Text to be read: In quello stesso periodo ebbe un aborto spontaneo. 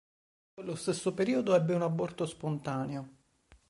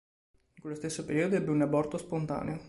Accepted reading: second